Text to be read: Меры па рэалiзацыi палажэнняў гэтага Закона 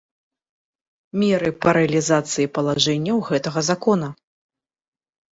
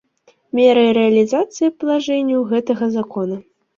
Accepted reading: first